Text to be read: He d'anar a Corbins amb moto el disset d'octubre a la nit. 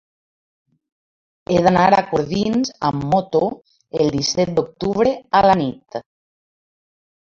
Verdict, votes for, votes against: rejected, 0, 2